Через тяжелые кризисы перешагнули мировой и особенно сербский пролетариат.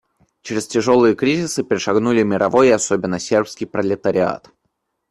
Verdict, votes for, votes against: accepted, 2, 0